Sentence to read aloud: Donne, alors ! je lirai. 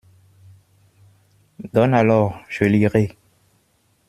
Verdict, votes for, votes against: accepted, 2, 0